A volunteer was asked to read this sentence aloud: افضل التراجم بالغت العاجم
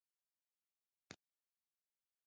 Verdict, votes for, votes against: rejected, 0, 2